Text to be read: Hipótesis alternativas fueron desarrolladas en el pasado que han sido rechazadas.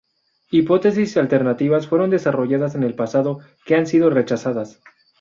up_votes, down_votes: 2, 0